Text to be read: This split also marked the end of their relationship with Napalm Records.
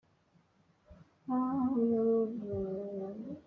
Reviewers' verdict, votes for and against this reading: rejected, 0, 2